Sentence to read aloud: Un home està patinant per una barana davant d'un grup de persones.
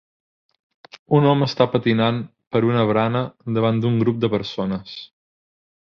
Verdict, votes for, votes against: accepted, 2, 0